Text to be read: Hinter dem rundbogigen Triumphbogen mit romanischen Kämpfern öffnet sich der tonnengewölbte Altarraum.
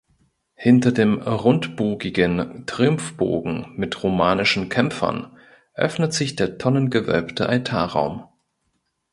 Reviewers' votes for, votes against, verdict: 2, 0, accepted